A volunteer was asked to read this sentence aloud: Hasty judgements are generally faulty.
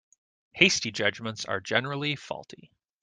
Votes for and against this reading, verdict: 2, 0, accepted